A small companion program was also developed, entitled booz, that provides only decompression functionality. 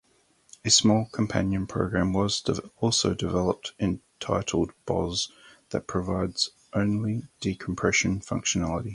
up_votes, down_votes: 4, 2